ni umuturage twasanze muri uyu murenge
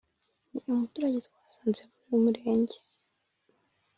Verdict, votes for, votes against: rejected, 1, 2